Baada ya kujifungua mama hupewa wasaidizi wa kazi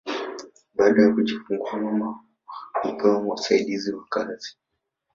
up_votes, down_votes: 5, 1